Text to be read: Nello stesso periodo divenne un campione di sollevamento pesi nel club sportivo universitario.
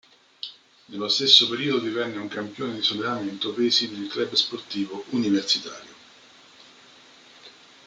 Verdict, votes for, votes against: rejected, 1, 2